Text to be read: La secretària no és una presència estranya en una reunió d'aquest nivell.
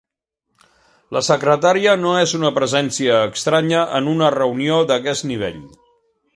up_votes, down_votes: 3, 0